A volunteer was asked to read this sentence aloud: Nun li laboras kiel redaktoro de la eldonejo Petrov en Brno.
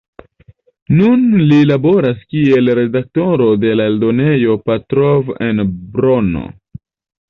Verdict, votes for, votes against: accepted, 2, 0